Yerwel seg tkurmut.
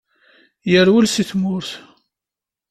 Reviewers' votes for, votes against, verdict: 0, 2, rejected